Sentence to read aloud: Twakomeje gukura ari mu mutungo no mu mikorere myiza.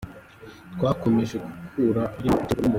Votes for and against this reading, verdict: 0, 2, rejected